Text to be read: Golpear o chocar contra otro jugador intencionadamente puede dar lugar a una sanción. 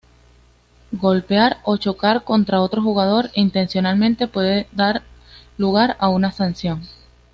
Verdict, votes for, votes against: accepted, 2, 0